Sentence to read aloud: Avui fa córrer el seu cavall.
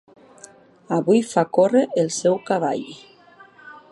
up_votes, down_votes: 4, 0